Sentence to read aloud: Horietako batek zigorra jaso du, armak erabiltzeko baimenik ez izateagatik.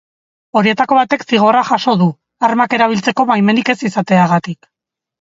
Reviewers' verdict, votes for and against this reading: accepted, 3, 0